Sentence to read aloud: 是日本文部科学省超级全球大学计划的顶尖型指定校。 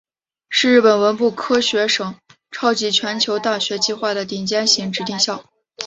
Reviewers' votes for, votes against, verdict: 2, 0, accepted